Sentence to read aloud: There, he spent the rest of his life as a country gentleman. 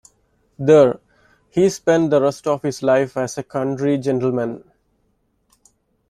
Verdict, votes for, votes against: accepted, 2, 0